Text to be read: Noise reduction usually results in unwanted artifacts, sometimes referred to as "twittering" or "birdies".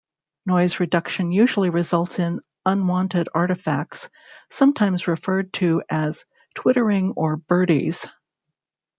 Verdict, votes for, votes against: accepted, 2, 0